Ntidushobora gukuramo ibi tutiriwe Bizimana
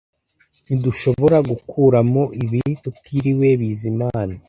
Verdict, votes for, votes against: accepted, 2, 0